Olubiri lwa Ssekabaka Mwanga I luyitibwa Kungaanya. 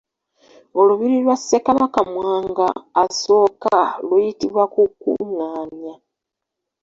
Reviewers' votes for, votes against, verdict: 1, 2, rejected